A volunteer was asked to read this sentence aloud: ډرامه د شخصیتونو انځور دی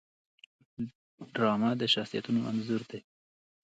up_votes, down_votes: 2, 0